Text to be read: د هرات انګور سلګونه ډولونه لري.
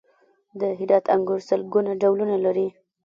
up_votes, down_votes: 1, 2